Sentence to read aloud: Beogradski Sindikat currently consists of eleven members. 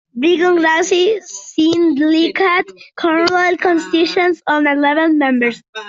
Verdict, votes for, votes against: rejected, 0, 2